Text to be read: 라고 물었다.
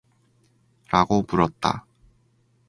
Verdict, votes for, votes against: accepted, 4, 0